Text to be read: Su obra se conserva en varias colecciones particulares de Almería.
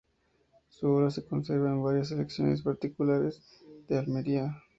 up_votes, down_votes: 0, 2